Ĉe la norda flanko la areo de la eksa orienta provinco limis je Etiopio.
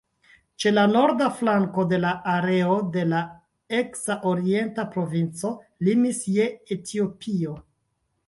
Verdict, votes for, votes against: rejected, 0, 2